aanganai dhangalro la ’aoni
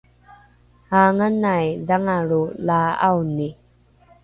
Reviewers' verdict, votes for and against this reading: accepted, 2, 0